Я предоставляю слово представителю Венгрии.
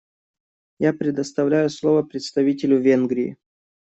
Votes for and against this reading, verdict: 2, 0, accepted